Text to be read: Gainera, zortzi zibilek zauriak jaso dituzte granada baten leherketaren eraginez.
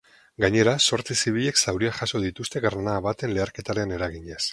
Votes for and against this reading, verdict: 2, 0, accepted